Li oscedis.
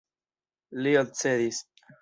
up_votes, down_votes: 1, 2